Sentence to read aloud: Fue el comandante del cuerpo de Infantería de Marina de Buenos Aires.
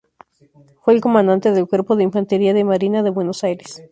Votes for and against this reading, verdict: 2, 2, rejected